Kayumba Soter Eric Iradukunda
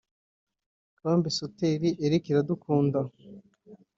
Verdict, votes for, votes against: rejected, 1, 2